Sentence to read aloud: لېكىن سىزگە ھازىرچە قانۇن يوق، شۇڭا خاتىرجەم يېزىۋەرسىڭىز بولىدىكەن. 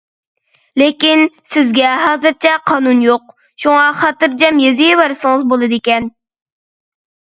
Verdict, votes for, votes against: accepted, 2, 0